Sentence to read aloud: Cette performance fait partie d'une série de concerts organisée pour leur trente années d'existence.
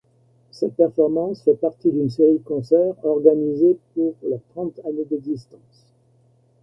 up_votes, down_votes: 2, 0